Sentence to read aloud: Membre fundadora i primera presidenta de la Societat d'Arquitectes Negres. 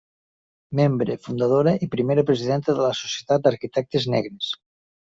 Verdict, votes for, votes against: accepted, 3, 0